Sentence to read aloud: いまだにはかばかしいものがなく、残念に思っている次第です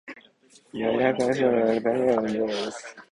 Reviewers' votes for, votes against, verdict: 0, 2, rejected